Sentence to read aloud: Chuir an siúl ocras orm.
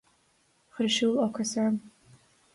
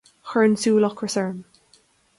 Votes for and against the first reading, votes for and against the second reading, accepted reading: 2, 0, 1, 2, first